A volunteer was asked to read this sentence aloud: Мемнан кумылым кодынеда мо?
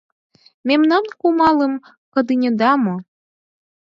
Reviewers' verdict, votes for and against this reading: rejected, 0, 4